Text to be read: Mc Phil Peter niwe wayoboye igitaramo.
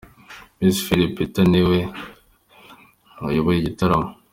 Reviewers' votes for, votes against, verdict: 2, 0, accepted